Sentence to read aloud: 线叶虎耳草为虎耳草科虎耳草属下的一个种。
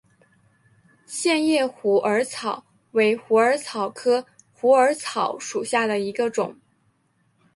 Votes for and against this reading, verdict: 3, 1, accepted